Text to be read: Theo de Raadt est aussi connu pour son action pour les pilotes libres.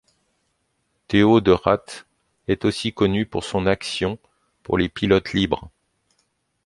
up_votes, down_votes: 1, 2